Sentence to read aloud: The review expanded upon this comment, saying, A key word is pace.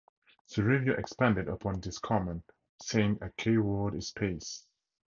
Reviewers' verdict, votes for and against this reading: accepted, 12, 6